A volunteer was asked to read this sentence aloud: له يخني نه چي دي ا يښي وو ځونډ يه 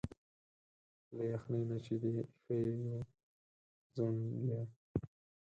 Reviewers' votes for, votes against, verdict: 2, 4, rejected